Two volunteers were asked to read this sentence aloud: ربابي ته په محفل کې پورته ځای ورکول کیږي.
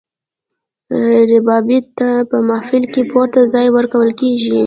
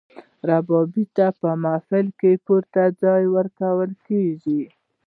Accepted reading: first